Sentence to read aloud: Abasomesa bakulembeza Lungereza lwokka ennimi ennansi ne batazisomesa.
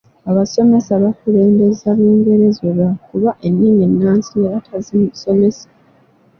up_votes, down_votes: 0, 2